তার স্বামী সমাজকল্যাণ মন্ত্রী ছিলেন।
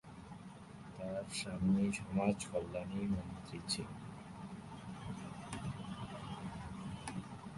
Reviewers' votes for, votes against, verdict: 0, 2, rejected